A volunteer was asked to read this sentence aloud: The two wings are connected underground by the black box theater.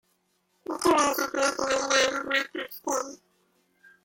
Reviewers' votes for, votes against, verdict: 0, 2, rejected